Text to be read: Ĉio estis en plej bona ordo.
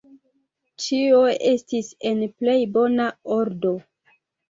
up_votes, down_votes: 1, 2